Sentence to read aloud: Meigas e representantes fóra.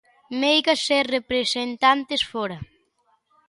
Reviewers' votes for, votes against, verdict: 2, 0, accepted